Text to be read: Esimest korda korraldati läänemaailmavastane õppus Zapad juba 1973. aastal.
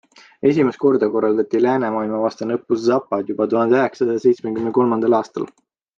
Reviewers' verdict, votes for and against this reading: rejected, 0, 2